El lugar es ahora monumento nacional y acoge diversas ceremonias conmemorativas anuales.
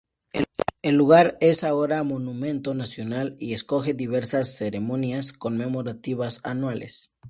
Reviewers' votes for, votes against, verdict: 2, 0, accepted